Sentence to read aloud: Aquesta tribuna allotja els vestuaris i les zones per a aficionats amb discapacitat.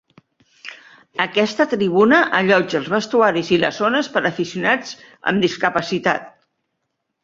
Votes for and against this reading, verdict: 3, 0, accepted